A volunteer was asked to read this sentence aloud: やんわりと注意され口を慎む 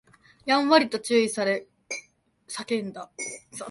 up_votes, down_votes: 0, 2